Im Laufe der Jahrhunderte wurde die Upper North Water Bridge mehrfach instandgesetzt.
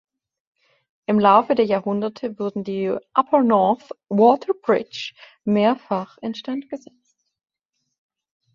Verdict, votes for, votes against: rejected, 0, 2